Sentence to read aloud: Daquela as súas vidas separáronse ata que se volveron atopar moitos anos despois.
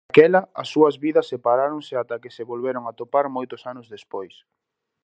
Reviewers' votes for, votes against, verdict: 0, 2, rejected